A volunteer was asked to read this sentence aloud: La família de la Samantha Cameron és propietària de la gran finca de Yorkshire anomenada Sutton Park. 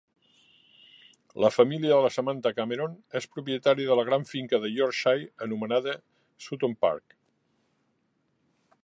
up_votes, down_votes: 3, 0